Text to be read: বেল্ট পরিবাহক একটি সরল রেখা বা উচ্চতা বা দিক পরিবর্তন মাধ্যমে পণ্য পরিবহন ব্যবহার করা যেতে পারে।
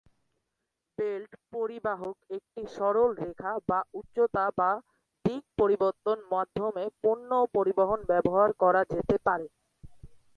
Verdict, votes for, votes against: rejected, 0, 2